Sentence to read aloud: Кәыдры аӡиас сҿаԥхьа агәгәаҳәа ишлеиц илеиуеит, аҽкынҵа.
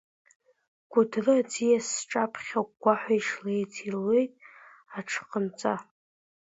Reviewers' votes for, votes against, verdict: 1, 2, rejected